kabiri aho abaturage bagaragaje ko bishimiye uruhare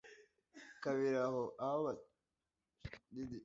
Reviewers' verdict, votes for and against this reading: rejected, 1, 2